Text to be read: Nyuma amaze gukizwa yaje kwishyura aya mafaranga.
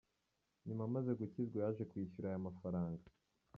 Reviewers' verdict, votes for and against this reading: rejected, 0, 2